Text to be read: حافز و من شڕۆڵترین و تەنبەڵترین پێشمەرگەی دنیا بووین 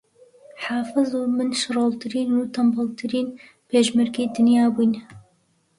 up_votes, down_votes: 2, 0